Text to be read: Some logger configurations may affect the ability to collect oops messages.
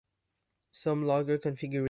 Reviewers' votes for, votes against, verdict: 0, 2, rejected